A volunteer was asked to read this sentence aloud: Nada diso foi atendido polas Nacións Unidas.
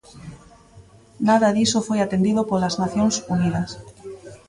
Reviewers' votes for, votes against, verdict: 1, 2, rejected